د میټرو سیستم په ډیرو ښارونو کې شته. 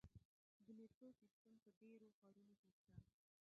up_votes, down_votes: 0, 2